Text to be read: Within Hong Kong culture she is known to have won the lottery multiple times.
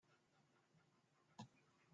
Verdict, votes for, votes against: rejected, 0, 2